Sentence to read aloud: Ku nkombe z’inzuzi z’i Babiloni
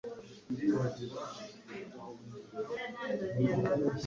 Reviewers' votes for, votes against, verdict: 1, 2, rejected